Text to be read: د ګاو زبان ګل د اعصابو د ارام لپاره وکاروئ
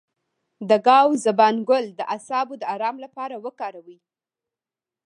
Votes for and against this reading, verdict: 2, 0, accepted